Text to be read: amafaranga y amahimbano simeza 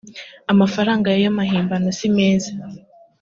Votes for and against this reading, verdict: 2, 0, accepted